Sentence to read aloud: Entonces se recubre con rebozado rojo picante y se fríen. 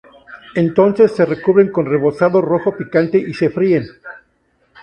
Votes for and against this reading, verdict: 2, 2, rejected